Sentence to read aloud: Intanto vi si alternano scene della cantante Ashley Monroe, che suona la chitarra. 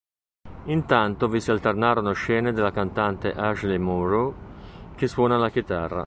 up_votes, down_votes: 0, 2